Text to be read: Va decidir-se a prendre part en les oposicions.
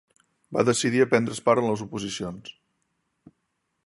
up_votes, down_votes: 0, 2